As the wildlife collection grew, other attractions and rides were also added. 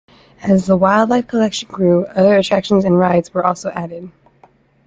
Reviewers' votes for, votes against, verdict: 1, 2, rejected